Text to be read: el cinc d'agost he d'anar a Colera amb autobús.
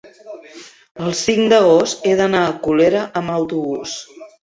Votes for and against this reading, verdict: 1, 2, rejected